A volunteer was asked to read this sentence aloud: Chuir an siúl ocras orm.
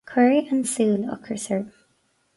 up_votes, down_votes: 0, 4